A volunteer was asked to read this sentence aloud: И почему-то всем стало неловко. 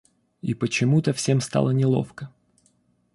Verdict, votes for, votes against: accepted, 2, 0